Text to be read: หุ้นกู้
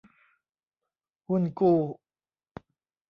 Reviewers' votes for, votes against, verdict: 2, 0, accepted